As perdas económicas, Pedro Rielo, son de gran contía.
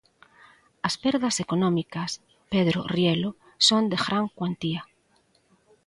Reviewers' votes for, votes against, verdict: 1, 2, rejected